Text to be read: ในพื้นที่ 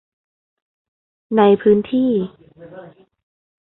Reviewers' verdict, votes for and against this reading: rejected, 1, 2